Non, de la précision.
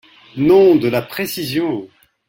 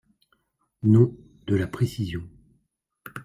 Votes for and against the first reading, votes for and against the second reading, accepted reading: 1, 2, 2, 0, second